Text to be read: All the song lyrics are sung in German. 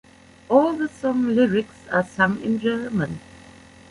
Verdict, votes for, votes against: rejected, 0, 2